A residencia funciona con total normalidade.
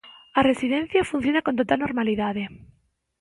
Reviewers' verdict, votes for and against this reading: accepted, 2, 0